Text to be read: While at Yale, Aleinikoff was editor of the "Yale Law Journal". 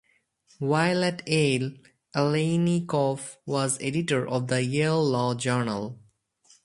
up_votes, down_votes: 0, 2